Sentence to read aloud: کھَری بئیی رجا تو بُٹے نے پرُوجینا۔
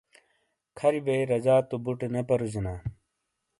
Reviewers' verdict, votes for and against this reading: accepted, 2, 0